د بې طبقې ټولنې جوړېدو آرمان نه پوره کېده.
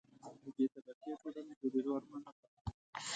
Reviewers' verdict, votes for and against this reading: rejected, 1, 2